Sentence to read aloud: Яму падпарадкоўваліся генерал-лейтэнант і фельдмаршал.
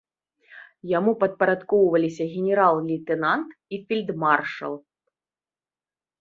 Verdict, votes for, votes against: accepted, 2, 0